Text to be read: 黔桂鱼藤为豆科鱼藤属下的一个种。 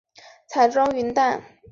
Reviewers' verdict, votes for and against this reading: rejected, 0, 6